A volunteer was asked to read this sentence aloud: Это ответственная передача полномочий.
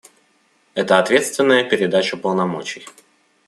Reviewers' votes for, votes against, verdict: 2, 1, accepted